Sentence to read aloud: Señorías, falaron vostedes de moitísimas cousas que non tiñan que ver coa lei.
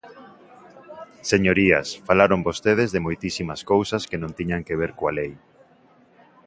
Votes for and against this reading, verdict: 2, 0, accepted